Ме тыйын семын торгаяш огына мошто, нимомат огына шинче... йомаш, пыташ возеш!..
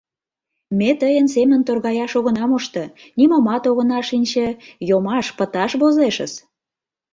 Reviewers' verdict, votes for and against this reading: rejected, 0, 2